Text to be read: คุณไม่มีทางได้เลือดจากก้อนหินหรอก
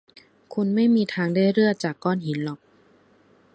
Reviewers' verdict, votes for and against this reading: rejected, 1, 2